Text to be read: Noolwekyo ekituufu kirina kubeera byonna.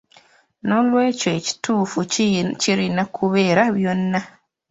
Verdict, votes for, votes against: rejected, 1, 2